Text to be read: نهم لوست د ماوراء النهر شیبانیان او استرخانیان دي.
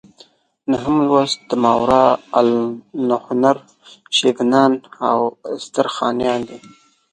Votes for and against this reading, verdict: 0, 2, rejected